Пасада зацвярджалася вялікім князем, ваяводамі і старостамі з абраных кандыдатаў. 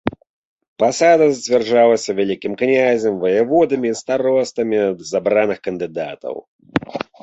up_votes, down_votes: 2, 0